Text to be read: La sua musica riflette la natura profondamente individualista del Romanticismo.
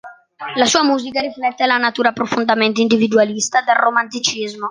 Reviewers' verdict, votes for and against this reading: accepted, 2, 0